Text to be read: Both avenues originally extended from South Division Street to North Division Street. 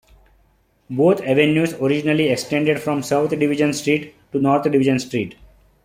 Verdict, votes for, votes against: accepted, 2, 0